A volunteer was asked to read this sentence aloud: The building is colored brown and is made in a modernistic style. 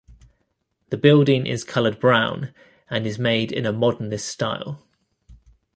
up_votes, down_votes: 1, 2